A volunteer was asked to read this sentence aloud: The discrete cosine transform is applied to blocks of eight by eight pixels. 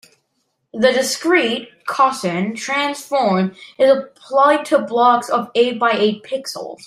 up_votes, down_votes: 0, 2